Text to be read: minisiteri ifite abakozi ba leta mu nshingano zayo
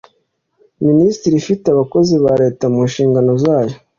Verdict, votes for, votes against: accepted, 2, 0